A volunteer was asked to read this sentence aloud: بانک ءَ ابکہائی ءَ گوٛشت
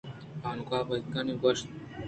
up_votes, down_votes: 2, 0